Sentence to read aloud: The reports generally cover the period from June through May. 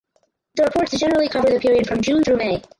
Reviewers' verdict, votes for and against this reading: rejected, 0, 4